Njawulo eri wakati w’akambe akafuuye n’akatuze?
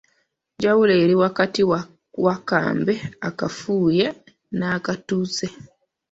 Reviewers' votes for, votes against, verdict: 1, 2, rejected